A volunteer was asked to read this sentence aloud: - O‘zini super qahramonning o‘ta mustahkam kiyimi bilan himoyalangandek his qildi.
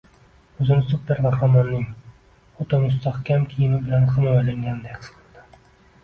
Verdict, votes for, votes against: accepted, 2, 0